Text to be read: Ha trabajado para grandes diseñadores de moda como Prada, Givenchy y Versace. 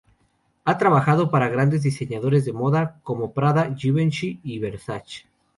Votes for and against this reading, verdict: 2, 2, rejected